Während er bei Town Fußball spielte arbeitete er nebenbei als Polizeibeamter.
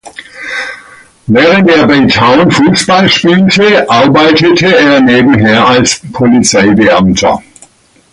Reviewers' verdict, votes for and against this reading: rejected, 0, 2